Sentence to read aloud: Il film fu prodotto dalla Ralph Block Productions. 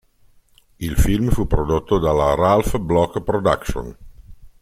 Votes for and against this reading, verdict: 0, 2, rejected